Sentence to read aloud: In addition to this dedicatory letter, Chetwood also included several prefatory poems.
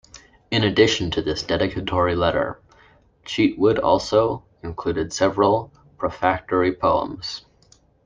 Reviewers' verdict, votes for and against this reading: rejected, 0, 2